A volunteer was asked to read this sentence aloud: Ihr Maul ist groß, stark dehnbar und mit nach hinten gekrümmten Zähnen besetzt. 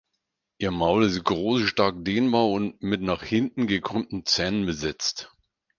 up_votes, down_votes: 4, 0